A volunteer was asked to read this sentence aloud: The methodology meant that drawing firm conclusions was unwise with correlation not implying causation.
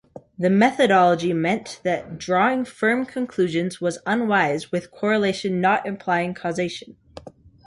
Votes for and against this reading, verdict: 2, 0, accepted